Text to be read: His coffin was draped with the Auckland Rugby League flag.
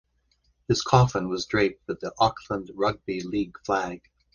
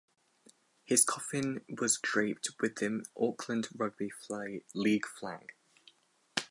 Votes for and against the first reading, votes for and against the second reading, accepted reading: 2, 1, 0, 4, first